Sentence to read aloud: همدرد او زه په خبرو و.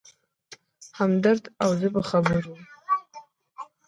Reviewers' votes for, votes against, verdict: 1, 2, rejected